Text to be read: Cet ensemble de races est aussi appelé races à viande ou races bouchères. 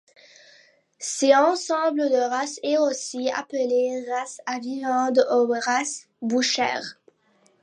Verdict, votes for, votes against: accepted, 2, 0